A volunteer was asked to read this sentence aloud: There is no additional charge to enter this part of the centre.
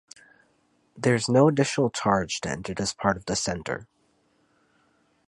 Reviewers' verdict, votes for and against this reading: accepted, 4, 0